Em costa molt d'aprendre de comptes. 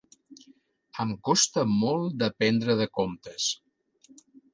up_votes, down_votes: 3, 1